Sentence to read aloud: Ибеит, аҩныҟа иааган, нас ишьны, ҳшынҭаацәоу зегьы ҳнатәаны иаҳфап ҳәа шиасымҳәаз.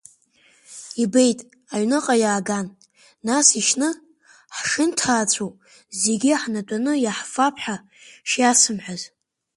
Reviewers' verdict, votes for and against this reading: rejected, 1, 2